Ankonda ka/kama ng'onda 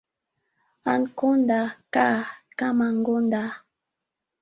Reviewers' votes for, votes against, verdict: 2, 3, rejected